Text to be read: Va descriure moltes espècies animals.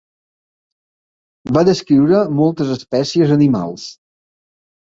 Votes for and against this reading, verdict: 2, 0, accepted